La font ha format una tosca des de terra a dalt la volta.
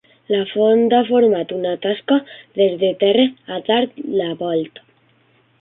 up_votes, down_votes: 0, 2